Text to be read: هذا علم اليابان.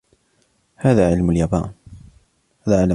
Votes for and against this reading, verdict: 1, 2, rejected